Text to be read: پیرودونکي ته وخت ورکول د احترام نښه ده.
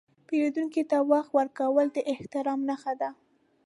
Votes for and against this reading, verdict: 3, 0, accepted